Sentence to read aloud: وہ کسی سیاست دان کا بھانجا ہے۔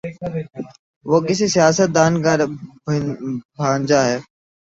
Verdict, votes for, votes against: rejected, 0, 3